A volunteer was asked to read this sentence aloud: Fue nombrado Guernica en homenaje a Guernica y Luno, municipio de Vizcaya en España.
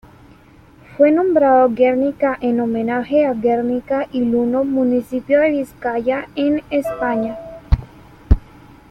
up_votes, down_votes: 1, 2